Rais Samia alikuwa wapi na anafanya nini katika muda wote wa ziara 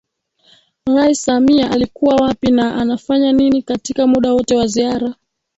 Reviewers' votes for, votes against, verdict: 1, 3, rejected